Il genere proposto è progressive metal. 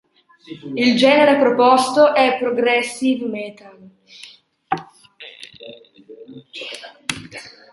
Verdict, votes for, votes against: accepted, 2, 0